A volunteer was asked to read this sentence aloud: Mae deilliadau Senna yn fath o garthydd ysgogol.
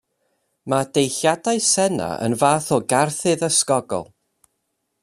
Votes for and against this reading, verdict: 2, 0, accepted